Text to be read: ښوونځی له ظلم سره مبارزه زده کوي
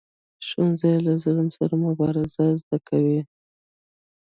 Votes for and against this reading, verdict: 0, 2, rejected